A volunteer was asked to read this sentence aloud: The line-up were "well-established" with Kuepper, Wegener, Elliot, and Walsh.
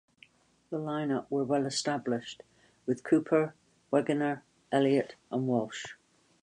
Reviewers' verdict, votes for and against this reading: accepted, 2, 0